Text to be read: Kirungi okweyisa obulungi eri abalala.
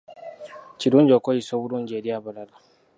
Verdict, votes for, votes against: accepted, 2, 0